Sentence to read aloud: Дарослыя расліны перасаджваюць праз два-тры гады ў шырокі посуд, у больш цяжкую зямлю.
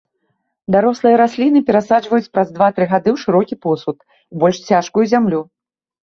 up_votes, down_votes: 2, 0